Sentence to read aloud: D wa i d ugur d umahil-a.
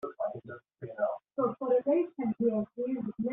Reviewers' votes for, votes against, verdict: 0, 2, rejected